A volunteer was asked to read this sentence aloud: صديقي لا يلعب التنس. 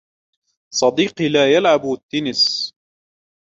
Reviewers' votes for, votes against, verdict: 2, 0, accepted